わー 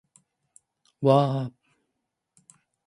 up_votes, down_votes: 2, 0